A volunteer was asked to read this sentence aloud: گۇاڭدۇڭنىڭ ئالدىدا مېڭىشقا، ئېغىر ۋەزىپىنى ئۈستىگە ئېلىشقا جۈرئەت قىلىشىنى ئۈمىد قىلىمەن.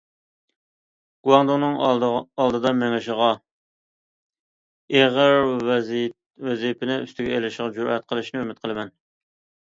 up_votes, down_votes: 0, 2